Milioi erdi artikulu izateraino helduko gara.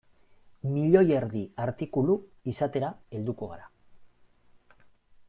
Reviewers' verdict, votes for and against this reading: rejected, 1, 2